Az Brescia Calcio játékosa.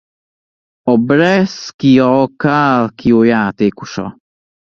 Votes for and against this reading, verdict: 0, 2, rejected